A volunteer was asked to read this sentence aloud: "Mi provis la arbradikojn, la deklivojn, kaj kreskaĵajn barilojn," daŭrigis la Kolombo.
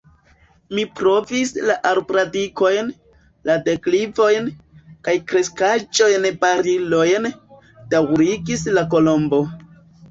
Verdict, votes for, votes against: rejected, 1, 2